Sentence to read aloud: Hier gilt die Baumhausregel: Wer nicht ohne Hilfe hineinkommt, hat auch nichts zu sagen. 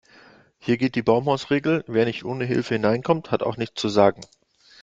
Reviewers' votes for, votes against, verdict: 2, 0, accepted